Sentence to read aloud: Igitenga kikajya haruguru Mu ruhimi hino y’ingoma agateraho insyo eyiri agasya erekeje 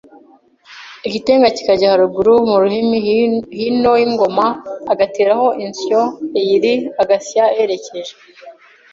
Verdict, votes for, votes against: rejected, 0, 2